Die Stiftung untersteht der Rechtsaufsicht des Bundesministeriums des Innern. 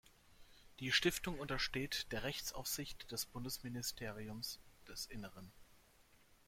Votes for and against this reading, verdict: 1, 2, rejected